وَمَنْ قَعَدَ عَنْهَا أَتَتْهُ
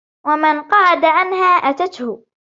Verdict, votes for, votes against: accepted, 2, 0